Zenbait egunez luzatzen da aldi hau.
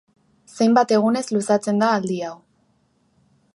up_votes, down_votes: 1, 2